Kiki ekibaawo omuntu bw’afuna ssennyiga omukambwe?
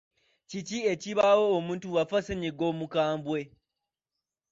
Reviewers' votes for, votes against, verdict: 1, 2, rejected